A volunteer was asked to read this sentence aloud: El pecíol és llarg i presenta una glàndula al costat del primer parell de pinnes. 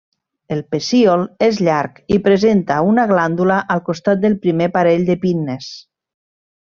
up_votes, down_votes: 2, 0